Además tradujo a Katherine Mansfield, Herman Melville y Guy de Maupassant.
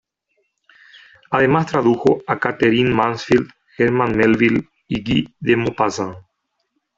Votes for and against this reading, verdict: 1, 2, rejected